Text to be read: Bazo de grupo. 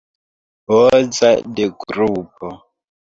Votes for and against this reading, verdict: 0, 3, rejected